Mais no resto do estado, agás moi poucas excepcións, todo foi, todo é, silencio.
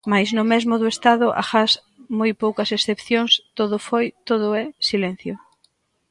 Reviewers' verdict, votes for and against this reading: rejected, 0, 2